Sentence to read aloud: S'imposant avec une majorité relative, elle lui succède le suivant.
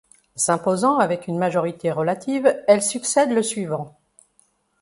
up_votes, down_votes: 0, 2